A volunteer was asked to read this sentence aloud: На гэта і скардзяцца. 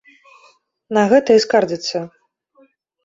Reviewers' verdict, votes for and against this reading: accepted, 2, 0